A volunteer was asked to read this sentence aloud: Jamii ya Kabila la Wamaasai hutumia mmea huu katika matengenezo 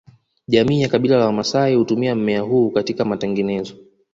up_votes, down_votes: 2, 0